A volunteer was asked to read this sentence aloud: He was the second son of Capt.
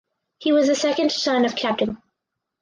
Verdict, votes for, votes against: rejected, 2, 2